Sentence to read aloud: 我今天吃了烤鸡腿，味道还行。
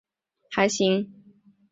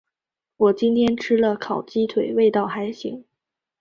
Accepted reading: second